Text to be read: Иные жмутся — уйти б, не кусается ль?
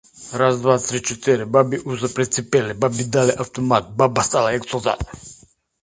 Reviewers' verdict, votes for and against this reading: rejected, 0, 2